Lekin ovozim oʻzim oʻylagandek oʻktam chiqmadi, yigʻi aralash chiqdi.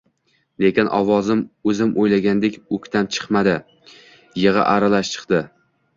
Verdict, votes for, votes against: rejected, 1, 2